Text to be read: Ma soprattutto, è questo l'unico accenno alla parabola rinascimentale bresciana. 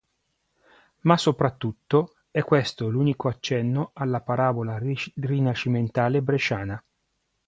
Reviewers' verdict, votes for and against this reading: rejected, 1, 2